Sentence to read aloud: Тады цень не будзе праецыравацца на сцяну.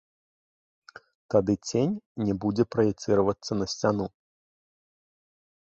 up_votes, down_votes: 2, 1